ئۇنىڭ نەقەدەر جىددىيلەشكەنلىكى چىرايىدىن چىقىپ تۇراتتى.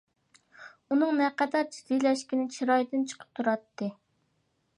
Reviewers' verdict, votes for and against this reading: rejected, 0, 2